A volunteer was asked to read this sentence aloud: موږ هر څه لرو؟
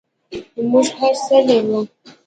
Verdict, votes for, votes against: rejected, 1, 2